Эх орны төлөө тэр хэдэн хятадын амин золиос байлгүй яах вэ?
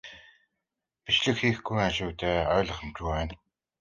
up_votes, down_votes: 0, 2